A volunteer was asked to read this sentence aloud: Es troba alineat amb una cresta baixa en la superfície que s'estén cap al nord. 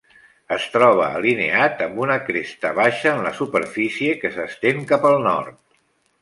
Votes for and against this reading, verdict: 0, 2, rejected